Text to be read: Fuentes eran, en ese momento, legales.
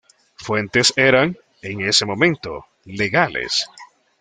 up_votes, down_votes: 2, 0